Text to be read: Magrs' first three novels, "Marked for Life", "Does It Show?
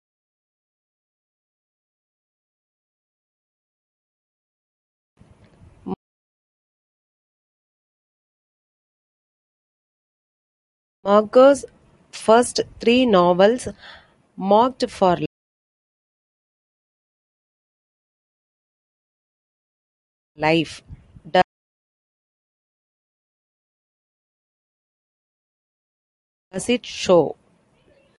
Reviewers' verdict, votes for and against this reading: rejected, 0, 2